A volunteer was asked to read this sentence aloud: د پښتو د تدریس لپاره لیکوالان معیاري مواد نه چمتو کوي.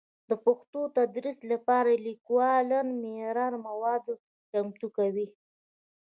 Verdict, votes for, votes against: rejected, 1, 2